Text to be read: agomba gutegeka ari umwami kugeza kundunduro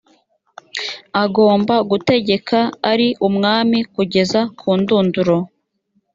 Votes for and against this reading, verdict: 3, 0, accepted